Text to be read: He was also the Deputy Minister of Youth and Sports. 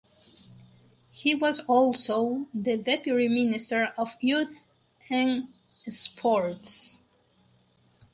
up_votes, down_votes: 2, 2